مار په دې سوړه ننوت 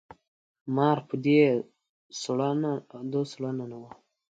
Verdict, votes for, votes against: rejected, 1, 2